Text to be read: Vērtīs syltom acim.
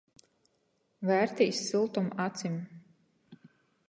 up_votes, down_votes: 8, 0